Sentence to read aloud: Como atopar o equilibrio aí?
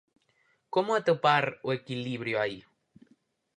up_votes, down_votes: 4, 0